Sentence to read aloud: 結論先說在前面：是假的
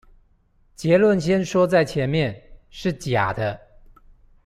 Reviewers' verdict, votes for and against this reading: accepted, 2, 0